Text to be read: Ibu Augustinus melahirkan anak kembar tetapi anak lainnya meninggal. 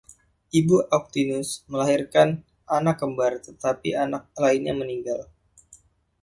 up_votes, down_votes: 0, 2